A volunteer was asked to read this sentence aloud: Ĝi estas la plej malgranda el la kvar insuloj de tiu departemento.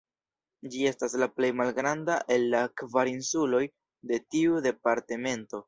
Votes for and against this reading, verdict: 1, 2, rejected